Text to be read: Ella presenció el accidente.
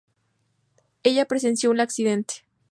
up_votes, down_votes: 0, 2